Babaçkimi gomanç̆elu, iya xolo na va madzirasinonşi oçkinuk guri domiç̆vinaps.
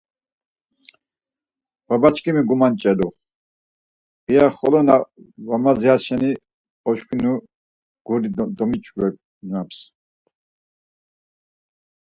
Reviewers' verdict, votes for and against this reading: rejected, 2, 4